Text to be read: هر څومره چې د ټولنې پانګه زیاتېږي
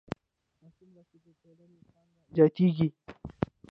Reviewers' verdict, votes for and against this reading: rejected, 0, 2